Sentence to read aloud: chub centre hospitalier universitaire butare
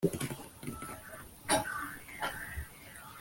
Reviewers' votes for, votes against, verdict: 0, 2, rejected